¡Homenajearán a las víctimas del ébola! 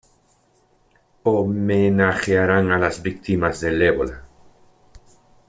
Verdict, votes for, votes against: accepted, 2, 0